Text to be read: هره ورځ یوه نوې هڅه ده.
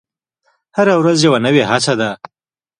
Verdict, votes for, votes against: accepted, 2, 0